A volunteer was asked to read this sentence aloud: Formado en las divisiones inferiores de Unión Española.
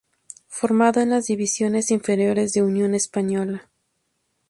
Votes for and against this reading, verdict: 2, 0, accepted